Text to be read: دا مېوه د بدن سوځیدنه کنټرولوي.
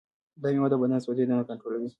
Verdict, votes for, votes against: accepted, 2, 1